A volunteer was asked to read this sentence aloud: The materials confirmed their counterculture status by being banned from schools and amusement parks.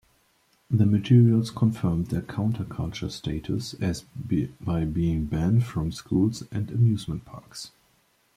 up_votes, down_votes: 2, 3